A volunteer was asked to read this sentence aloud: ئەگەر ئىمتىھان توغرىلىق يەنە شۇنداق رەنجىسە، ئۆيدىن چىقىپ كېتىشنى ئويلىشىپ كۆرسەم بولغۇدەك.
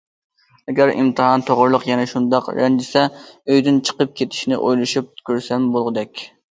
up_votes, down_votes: 2, 0